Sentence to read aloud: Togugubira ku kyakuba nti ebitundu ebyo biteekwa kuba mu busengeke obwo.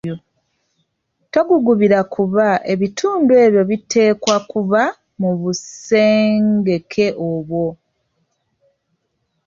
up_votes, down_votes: 1, 2